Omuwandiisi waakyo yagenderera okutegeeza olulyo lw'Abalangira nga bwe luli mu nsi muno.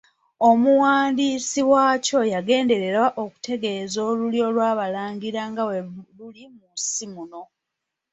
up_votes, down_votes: 0, 2